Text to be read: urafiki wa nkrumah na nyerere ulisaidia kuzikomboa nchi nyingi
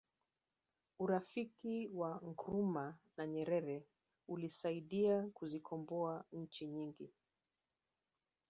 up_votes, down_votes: 3, 0